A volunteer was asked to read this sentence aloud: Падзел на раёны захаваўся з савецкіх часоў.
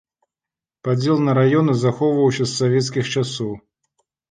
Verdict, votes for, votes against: rejected, 1, 2